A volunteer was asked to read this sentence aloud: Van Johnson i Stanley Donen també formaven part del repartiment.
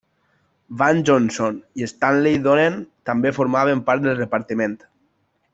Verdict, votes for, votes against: accepted, 2, 0